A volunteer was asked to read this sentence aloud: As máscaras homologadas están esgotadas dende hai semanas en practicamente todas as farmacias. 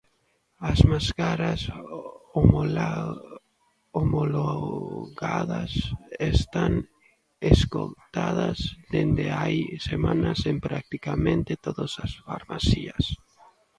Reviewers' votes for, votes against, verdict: 0, 2, rejected